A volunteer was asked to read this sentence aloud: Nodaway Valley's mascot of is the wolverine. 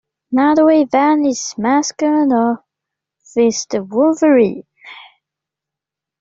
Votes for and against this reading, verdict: 2, 0, accepted